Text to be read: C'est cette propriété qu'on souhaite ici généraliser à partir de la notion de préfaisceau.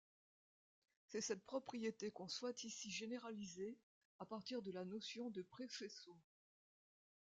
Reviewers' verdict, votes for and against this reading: accepted, 2, 0